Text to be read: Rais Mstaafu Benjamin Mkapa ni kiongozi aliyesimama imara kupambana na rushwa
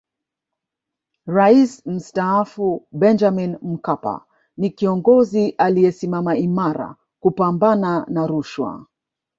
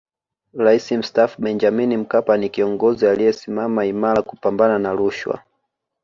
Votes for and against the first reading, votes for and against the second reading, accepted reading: 1, 2, 2, 1, second